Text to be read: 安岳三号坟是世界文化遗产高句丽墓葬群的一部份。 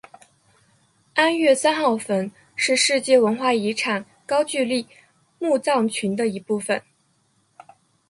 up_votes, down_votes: 3, 2